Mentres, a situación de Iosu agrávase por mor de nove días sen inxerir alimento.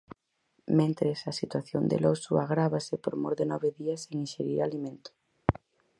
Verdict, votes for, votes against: rejected, 0, 4